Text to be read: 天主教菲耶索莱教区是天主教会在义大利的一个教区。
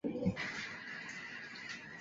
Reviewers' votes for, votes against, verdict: 0, 5, rejected